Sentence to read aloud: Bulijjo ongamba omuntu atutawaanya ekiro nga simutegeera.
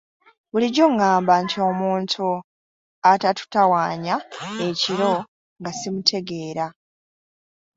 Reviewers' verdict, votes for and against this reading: rejected, 0, 2